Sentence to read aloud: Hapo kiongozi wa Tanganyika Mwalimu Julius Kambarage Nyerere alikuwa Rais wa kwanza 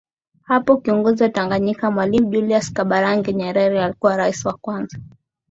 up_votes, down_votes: 2, 0